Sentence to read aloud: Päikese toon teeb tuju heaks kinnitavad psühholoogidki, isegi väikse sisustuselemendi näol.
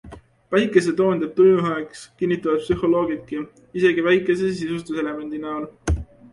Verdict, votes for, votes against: accepted, 2, 0